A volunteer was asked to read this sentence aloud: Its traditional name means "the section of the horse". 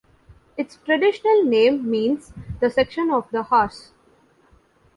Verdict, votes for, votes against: accepted, 2, 0